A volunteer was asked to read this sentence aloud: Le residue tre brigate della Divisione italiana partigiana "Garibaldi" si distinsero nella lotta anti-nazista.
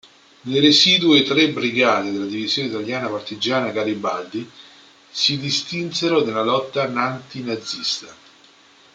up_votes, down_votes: 0, 2